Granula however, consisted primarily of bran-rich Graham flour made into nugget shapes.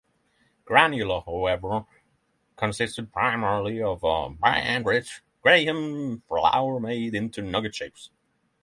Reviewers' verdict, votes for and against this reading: accepted, 6, 3